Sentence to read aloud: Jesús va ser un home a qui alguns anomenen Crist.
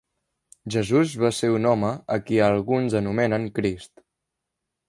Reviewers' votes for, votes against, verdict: 3, 0, accepted